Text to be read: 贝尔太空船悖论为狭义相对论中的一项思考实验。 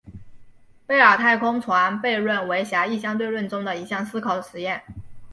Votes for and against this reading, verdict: 2, 1, accepted